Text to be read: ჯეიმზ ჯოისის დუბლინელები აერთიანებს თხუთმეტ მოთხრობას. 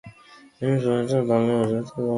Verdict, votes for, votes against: rejected, 0, 2